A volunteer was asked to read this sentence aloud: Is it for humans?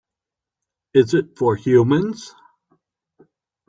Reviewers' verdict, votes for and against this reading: accepted, 5, 0